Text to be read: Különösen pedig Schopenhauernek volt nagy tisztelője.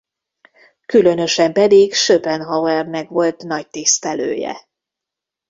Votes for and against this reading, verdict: 2, 1, accepted